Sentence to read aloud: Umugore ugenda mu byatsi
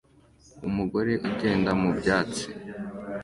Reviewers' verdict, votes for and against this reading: accepted, 2, 0